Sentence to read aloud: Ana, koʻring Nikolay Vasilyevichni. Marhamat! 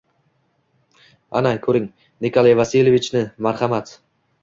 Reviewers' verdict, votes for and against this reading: accepted, 2, 0